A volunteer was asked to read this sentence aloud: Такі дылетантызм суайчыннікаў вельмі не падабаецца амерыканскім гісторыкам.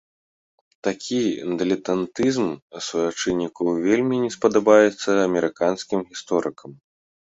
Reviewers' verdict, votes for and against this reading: rejected, 0, 2